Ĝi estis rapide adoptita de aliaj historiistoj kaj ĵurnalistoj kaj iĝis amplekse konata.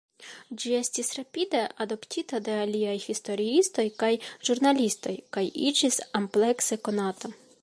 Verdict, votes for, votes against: accepted, 3, 0